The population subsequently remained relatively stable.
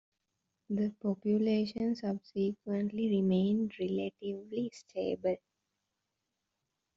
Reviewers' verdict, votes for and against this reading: rejected, 1, 2